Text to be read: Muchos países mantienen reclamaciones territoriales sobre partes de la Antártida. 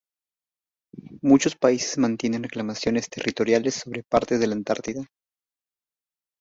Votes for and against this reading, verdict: 2, 0, accepted